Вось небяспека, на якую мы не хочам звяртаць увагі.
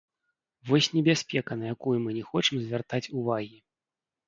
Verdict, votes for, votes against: rejected, 1, 2